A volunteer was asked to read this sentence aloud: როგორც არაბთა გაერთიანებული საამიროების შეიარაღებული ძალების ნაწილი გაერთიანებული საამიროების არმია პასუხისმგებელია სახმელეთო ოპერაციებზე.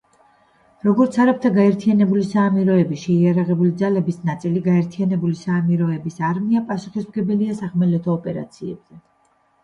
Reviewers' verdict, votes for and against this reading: rejected, 1, 2